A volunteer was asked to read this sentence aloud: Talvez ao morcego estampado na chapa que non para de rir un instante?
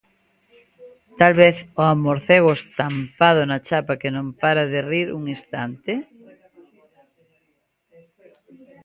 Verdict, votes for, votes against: rejected, 1, 2